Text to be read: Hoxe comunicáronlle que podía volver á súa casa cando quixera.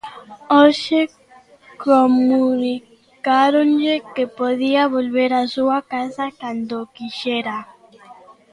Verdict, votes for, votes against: accepted, 2, 0